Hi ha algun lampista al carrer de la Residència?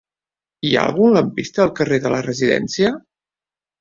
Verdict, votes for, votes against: accepted, 3, 0